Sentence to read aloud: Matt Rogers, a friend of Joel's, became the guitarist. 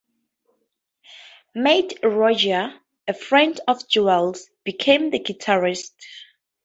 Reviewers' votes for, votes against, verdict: 0, 2, rejected